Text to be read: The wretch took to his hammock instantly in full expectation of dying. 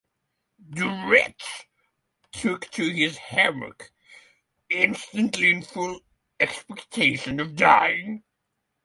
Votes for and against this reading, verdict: 3, 3, rejected